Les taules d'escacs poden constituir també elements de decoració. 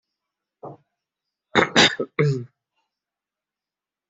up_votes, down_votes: 0, 2